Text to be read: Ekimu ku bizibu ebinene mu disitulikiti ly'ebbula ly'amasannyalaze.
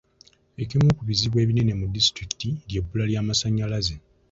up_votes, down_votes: 2, 0